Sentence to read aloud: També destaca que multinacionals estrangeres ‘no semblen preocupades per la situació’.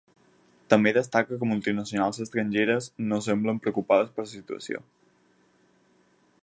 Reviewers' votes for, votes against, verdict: 2, 4, rejected